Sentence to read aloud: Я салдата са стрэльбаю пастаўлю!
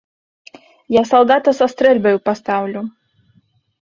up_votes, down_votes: 2, 0